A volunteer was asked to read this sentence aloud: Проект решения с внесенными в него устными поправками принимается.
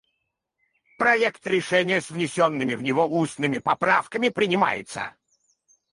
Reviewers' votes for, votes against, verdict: 0, 4, rejected